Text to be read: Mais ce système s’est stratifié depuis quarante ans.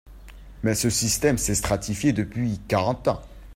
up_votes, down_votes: 2, 0